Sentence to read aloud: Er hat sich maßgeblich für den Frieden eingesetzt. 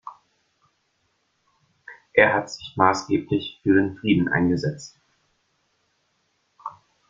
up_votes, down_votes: 1, 2